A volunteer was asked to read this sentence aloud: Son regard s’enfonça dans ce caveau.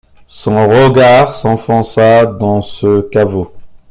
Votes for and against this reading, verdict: 2, 0, accepted